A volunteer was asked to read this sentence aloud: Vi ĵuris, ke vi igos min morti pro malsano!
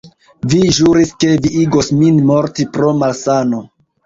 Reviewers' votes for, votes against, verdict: 0, 2, rejected